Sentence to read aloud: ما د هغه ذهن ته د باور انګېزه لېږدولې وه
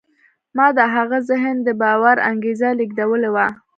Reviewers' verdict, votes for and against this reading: rejected, 1, 2